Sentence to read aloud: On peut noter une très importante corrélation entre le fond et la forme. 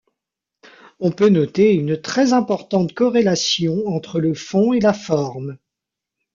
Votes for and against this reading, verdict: 0, 2, rejected